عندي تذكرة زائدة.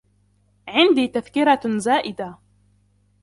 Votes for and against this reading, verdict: 2, 0, accepted